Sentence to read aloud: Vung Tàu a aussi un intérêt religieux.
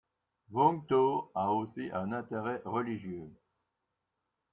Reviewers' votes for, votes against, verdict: 1, 2, rejected